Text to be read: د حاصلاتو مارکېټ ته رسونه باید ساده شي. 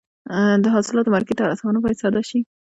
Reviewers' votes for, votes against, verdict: 0, 2, rejected